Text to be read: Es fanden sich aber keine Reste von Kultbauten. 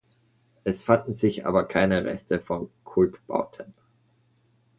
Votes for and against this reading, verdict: 2, 0, accepted